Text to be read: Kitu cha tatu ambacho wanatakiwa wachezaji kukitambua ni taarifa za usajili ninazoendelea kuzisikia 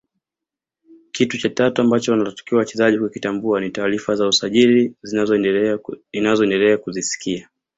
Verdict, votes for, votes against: rejected, 1, 2